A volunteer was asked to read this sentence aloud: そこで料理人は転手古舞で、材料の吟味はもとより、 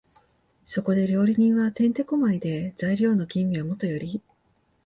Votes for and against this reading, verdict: 2, 0, accepted